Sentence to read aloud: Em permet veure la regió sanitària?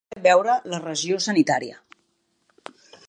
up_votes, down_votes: 0, 2